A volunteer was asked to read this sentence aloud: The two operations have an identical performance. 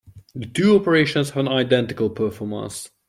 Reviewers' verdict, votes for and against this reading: accepted, 2, 0